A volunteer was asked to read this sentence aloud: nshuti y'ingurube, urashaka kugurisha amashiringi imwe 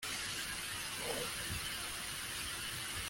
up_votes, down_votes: 0, 2